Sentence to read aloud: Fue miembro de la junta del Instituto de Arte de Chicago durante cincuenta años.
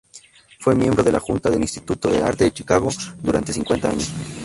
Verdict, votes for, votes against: rejected, 0, 2